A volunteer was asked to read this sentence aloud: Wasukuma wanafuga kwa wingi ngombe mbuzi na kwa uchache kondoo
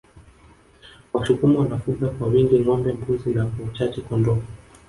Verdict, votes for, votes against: rejected, 1, 2